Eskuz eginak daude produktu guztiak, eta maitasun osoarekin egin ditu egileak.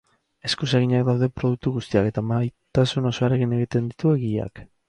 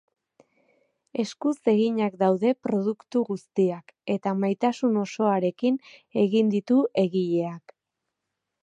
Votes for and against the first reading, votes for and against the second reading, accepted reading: 0, 2, 2, 0, second